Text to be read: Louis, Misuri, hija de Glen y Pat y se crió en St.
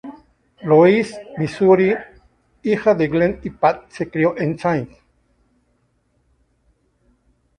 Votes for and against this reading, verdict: 0, 2, rejected